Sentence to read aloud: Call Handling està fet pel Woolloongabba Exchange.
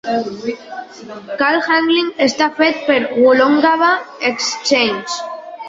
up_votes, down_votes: 2, 0